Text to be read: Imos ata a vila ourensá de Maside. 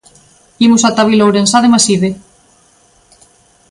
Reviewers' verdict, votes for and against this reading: accepted, 2, 0